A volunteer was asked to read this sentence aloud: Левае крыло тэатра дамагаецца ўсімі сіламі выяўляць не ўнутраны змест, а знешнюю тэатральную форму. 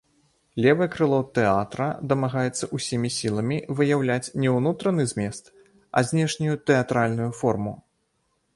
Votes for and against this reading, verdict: 1, 2, rejected